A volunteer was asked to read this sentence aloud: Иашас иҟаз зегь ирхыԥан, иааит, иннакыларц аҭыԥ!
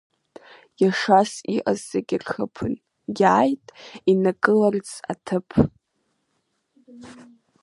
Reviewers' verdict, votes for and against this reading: rejected, 1, 2